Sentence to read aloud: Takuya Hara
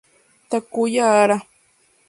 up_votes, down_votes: 2, 0